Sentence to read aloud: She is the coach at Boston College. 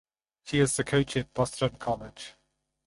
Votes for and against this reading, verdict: 4, 0, accepted